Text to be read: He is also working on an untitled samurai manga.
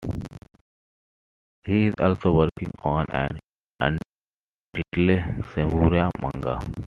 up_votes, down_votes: 1, 2